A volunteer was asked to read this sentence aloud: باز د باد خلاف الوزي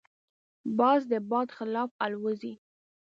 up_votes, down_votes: 2, 0